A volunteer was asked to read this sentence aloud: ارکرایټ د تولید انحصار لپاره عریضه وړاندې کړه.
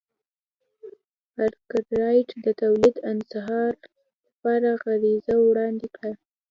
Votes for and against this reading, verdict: 2, 0, accepted